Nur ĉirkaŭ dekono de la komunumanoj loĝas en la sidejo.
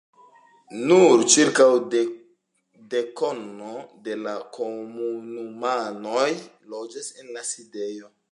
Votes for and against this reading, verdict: 2, 1, accepted